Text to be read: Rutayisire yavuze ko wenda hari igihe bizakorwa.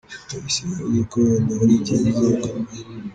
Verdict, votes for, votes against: rejected, 0, 2